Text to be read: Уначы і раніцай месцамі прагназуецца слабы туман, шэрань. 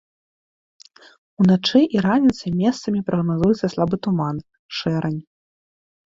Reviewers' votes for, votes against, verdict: 2, 0, accepted